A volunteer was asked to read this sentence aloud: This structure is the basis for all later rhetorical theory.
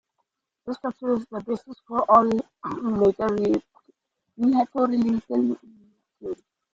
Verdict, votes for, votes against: rejected, 0, 2